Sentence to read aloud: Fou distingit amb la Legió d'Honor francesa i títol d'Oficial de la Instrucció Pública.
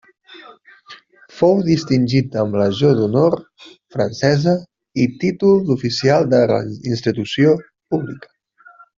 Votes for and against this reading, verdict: 0, 2, rejected